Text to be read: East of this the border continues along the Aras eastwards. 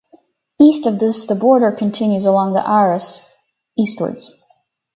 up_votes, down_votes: 2, 2